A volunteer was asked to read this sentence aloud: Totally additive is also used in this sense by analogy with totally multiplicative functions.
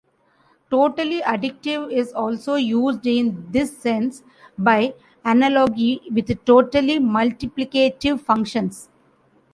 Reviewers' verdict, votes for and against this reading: rejected, 0, 2